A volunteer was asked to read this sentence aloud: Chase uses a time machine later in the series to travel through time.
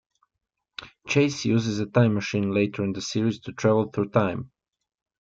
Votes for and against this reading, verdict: 3, 0, accepted